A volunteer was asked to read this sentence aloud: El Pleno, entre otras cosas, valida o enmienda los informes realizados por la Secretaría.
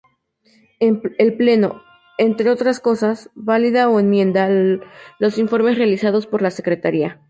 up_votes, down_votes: 0, 2